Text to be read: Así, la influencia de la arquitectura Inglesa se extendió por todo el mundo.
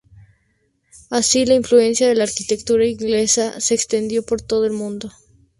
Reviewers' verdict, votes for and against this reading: accepted, 2, 0